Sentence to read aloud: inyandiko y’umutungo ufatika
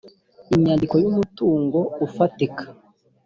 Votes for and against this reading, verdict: 3, 0, accepted